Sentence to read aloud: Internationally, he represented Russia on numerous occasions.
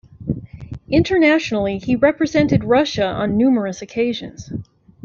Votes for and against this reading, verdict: 1, 2, rejected